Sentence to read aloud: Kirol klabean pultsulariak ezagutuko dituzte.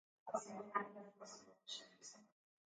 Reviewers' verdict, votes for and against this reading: rejected, 0, 2